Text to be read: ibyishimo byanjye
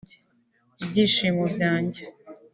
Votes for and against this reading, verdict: 3, 0, accepted